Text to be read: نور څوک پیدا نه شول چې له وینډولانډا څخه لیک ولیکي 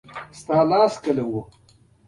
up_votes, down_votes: 1, 2